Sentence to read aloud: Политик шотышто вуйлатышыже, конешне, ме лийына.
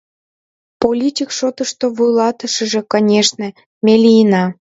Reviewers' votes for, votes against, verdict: 2, 0, accepted